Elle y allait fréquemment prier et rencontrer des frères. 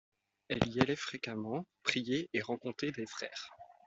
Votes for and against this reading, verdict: 2, 0, accepted